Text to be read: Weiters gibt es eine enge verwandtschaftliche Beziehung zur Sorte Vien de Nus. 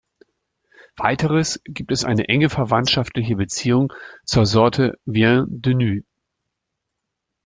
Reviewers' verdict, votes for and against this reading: accepted, 2, 0